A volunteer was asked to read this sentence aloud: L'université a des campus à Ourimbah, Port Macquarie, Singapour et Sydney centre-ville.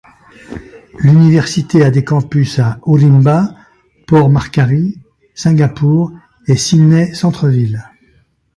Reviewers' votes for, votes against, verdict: 0, 2, rejected